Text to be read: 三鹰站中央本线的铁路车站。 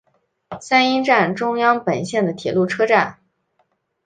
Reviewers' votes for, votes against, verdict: 0, 2, rejected